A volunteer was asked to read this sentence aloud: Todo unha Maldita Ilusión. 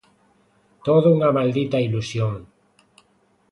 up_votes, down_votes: 2, 0